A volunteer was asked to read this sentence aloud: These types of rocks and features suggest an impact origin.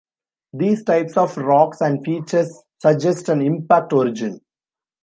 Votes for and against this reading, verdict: 2, 0, accepted